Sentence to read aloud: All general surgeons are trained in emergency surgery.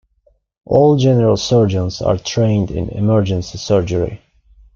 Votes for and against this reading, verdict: 2, 0, accepted